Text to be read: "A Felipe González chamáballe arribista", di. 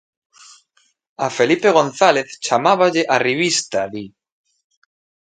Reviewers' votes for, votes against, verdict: 2, 0, accepted